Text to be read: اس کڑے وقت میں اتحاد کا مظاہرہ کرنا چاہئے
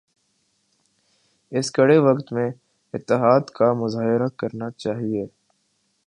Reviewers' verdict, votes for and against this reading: rejected, 0, 2